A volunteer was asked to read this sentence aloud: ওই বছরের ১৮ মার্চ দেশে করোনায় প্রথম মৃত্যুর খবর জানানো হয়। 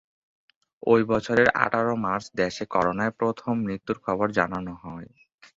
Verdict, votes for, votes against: rejected, 0, 2